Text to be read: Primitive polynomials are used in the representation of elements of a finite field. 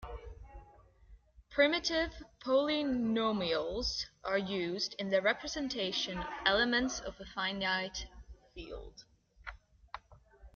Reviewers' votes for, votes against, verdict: 0, 2, rejected